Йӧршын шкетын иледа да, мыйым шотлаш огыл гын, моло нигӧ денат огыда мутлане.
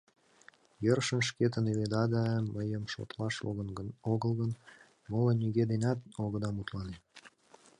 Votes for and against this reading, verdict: 2, 0, accepted